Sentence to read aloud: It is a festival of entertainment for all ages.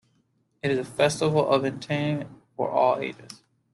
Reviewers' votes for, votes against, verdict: 1, 2, rejected